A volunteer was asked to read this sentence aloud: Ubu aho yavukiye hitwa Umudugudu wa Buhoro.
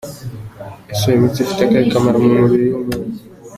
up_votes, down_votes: 0, 2